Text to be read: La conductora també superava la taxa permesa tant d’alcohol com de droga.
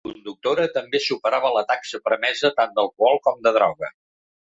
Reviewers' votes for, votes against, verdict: 1, 2, rejected